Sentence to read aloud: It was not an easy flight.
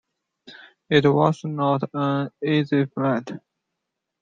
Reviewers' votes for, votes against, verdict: 1, 2, rejected